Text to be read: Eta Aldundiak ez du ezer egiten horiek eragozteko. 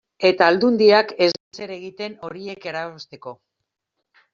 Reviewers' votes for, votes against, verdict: 1, 2, rejected